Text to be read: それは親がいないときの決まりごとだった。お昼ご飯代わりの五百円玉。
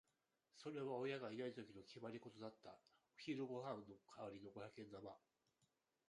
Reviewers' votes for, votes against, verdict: 1, 2, rejected